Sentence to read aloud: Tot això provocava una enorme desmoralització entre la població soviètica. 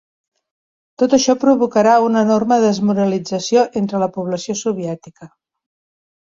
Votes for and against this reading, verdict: 1, 3, rejected